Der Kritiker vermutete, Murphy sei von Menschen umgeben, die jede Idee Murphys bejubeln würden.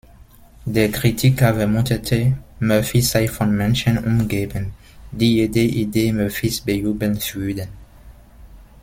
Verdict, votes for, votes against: rejected, 0, 2